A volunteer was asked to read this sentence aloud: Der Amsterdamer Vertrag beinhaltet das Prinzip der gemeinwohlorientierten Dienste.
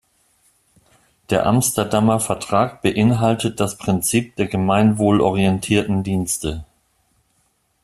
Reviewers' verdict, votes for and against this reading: accepted, 2, 0